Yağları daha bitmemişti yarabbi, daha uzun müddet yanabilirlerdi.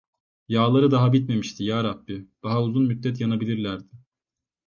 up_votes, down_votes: 2, 0